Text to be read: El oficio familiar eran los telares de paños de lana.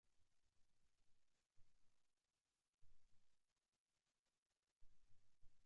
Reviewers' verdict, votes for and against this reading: rejected, 0, 2